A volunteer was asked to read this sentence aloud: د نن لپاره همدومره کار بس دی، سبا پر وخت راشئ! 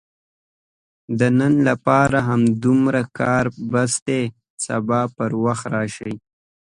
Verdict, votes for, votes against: accepted, 2, 0